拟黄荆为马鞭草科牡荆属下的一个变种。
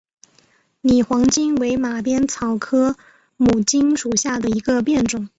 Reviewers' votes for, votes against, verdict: 3, 0, accepted